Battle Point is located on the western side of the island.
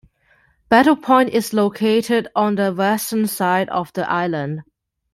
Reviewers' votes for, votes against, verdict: 2, 0, accepted